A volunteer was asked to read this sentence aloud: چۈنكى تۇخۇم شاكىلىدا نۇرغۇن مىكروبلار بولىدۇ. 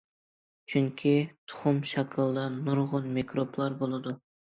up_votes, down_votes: 2, 0